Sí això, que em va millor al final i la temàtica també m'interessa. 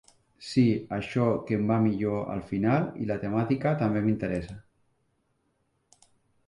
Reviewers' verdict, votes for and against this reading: rejected, 0, 2